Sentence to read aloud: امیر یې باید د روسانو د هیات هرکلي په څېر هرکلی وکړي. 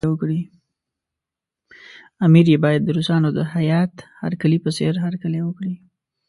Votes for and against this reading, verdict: 1, 2, rejected